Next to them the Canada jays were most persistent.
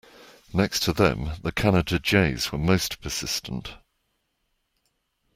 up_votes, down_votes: 2, 0